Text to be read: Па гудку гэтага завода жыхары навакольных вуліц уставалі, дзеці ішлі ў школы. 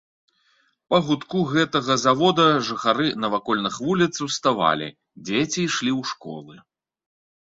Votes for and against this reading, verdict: 2, 1, accepted